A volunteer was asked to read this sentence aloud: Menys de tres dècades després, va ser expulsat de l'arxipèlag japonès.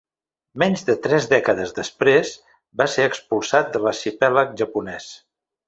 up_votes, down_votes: 2, 0